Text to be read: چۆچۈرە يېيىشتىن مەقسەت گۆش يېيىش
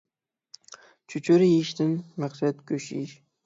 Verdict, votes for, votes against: accepted, 6, 0